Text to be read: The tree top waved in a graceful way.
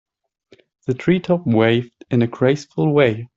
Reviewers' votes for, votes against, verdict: 2, 0, accepted